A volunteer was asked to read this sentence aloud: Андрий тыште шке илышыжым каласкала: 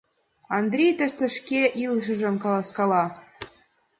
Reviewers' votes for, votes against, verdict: 2, 0, accepted